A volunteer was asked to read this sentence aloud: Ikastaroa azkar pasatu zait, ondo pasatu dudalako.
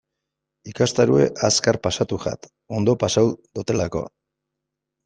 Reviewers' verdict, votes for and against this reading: rejected, 1, 2